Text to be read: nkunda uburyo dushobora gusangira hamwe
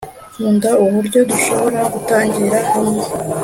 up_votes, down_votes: 2, 0